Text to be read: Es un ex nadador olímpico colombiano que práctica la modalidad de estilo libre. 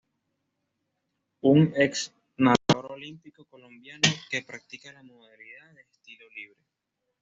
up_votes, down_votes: 1, 2